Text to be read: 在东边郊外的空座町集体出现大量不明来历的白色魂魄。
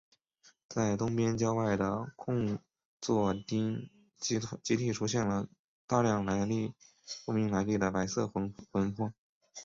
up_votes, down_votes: 3, 1